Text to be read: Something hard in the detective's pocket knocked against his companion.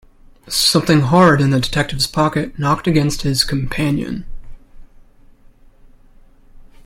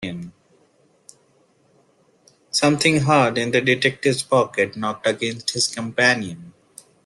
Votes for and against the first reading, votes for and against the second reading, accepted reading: 2, 0, 0, 2, first